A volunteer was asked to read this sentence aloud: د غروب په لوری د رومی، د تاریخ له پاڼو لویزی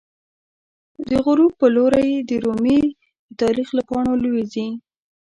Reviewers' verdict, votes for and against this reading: rejected, 1, 2